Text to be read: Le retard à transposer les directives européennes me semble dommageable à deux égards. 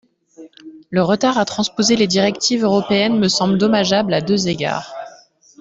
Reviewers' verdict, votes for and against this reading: accepted, 2, 1